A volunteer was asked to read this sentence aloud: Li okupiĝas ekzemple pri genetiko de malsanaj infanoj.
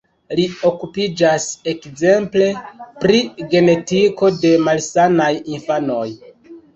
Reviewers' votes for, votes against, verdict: 2, 1, accepted